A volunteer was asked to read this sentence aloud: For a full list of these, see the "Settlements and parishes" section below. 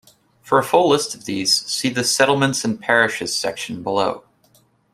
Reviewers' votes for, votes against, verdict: 2, 1, accepted